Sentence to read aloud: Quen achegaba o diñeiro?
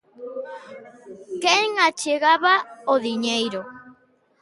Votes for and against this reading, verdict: 2, 0, accepted